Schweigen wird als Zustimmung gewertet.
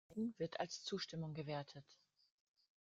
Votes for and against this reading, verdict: 1, 2, rejected